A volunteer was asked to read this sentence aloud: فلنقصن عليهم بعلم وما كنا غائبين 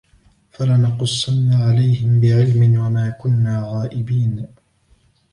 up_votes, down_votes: 2, 0